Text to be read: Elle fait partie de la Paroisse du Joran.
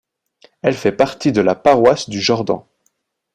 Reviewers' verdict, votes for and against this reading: rejected, 1, 2